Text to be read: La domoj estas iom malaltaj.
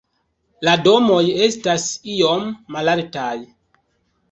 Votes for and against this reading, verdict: 2, 1, accepted